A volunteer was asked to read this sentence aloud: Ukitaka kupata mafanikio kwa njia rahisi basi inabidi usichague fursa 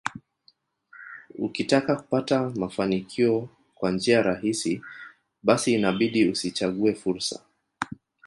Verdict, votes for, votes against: rejected, 1, 2